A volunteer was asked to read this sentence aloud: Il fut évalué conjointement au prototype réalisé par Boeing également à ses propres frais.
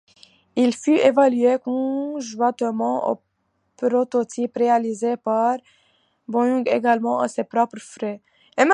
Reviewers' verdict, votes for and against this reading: rejected, 1, 2